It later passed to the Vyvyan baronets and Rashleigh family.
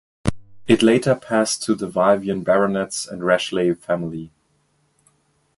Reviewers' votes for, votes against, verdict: 2, 0, accepted